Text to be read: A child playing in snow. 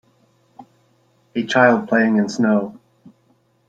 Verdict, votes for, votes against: accepted, 2, 0